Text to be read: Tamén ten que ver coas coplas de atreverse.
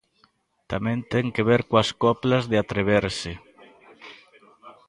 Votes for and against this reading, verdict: 1, 2, rejected